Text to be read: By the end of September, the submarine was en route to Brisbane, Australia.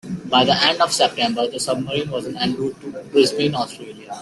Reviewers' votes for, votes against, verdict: 0, 2, rejected